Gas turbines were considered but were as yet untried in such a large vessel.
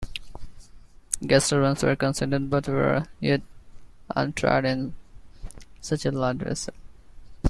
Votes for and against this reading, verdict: 2, 1, accepted